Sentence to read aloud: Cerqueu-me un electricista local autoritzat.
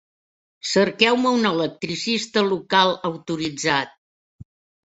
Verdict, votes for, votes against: accepted, 3, 0